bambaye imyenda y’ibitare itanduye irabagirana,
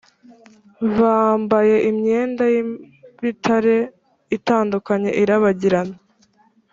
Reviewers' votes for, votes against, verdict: 1, 2, rejected